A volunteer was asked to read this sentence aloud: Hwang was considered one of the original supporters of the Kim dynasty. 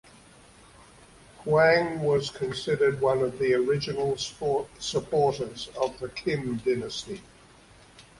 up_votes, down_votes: 0, 2